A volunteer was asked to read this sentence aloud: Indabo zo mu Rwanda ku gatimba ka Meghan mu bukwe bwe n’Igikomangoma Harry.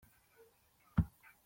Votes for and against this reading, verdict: 0, 2, rejected